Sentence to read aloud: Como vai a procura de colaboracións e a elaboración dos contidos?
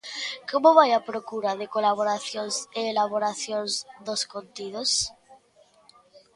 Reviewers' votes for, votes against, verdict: 0, 2, rejected